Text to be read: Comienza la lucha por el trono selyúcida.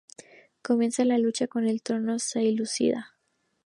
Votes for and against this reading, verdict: 0, 2, rejected